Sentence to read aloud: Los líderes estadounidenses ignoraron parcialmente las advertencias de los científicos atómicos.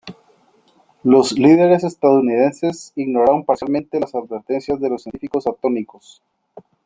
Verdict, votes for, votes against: accepted, 2, 0